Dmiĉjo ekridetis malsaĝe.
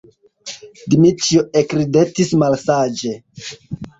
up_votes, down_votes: 2, 0